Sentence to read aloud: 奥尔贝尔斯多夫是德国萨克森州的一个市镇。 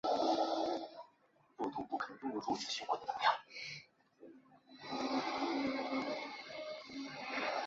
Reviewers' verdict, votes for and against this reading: rejected, 0, 4